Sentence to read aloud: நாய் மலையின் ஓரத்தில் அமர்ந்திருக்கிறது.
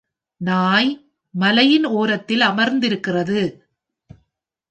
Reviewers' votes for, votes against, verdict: 2, 0, accepted